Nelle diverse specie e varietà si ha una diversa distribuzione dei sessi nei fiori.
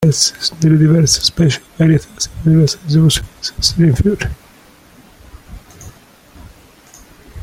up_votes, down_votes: 0, 2